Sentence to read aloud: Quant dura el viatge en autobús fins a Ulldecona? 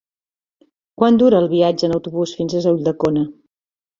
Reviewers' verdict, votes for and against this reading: rejected, 0, 2